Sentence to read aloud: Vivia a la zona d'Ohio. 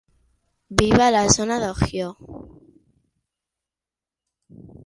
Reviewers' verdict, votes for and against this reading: rejected, 0, 6